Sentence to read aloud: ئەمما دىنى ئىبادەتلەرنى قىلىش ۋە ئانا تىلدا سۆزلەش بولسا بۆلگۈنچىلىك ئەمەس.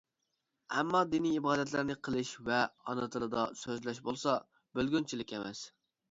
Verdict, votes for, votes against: rejected, 1, 2